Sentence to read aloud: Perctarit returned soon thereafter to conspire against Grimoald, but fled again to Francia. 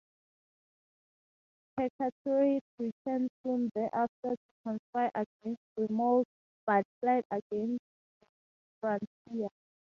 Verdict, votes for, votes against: rejected, 2, 2